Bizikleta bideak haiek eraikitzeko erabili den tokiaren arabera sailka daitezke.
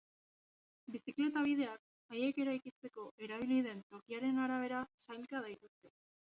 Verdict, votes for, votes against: rejected, 0, 2